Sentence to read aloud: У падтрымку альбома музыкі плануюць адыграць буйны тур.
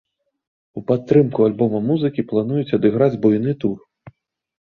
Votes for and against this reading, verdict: 1, 2, rejected